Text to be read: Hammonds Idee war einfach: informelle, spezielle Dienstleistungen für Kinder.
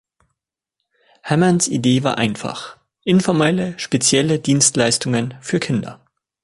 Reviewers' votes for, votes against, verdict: 2, 0, accepted